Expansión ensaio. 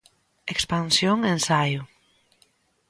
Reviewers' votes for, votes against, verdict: 2, 0, accepted